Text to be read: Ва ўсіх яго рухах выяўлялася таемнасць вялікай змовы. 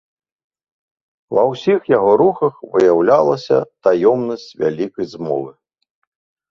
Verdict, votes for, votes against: rejected, 1, 2